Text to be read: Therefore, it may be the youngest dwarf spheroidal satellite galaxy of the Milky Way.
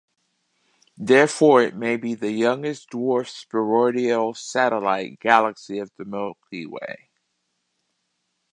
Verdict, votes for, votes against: rejected, 0, 2